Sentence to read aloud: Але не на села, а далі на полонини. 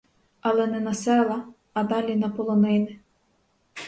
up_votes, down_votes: 4, 0